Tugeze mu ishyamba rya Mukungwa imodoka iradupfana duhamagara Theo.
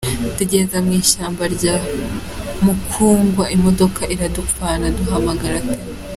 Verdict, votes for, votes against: rejected, 0, 2